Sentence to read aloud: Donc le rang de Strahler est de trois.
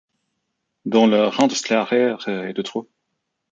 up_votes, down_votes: 1, 3